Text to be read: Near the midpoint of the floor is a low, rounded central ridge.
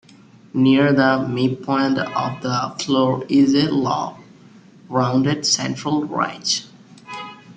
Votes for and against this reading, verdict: 2, 1, accepted